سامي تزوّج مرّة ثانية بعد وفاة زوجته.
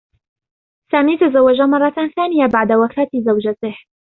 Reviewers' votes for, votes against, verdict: 2, 0, accepted